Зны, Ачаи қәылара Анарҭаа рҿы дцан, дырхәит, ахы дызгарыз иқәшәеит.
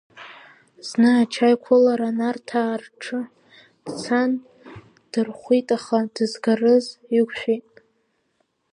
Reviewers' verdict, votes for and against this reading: rejected, 0, 2